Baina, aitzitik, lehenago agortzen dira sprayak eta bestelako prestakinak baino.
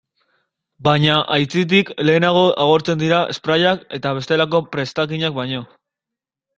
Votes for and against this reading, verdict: 2, 0, accepted